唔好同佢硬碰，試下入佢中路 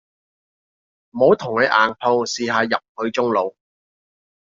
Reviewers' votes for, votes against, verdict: 2, 0, accepted